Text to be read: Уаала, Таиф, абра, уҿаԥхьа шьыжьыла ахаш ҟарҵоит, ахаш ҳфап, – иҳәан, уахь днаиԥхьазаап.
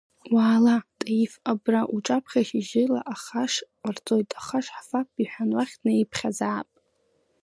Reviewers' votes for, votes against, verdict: 1, 2, rejected